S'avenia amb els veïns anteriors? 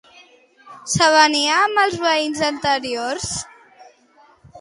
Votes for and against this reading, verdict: 2, 0, accepted